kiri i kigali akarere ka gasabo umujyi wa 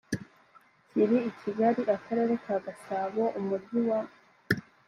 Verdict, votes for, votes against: accepted, 2, 0